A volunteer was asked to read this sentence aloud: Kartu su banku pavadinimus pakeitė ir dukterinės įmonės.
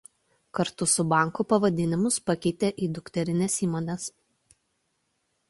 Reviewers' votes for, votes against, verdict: 1, 2, rejected